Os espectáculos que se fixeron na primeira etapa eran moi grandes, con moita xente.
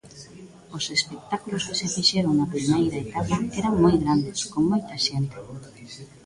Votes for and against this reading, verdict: 0, 2, rejected